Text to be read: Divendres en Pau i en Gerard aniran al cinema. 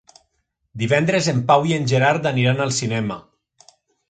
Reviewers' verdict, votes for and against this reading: accepted, 3, 0